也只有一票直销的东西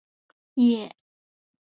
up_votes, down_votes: 2, 5